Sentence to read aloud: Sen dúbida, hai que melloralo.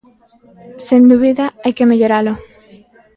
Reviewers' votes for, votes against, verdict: 2, 0, accepted